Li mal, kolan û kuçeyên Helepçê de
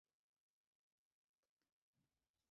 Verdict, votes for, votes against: rejected, 0, 2